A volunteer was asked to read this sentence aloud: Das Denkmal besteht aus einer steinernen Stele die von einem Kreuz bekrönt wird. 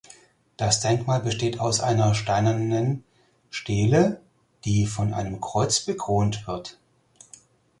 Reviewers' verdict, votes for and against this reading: rejected, 0, 4